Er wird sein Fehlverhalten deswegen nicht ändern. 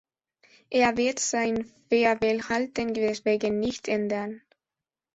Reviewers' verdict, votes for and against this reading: rejected, 1, 2